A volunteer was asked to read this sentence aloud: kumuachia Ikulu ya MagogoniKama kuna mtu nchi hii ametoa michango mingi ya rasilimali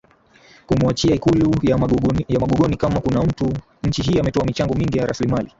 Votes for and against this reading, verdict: 15, 3, accepted